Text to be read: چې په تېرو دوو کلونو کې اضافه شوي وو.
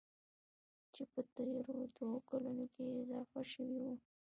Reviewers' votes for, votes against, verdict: 2, 0, accepted